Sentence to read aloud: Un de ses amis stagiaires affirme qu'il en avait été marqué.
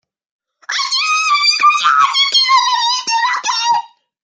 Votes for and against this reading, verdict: 0, 2, rejected